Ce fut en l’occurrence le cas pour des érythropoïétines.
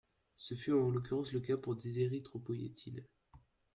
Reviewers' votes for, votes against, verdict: 0, 2, rejected